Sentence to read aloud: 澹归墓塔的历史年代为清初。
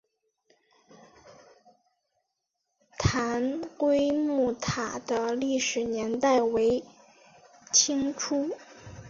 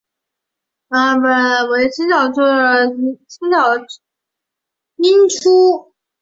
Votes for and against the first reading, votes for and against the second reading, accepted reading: 2, 1, 0, 4, first